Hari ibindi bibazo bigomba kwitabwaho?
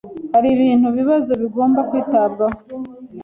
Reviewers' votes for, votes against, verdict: 0, 2, rejected